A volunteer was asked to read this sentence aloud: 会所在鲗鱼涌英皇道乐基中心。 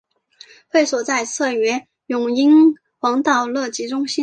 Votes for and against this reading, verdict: 1, 3, rejected